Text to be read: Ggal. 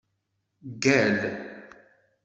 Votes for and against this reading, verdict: 2, 0, accepted